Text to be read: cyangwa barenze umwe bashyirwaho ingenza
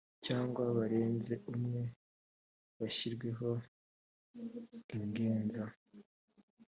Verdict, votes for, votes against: accepted, 2, 1